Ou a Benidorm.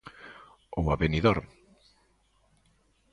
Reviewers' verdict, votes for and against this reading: accepted, 2, 0